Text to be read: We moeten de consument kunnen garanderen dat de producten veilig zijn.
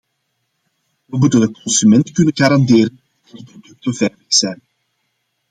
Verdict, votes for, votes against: rejected, 0, 2